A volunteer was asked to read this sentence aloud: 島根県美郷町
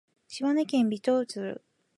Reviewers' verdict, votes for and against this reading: rejected, 1, 2